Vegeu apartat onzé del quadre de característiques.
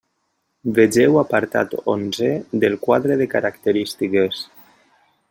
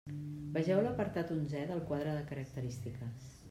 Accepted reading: first